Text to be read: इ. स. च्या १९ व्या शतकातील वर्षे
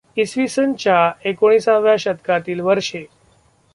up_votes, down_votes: 0, 2